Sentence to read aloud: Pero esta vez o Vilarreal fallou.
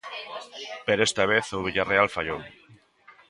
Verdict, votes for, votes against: rejected, 1, 2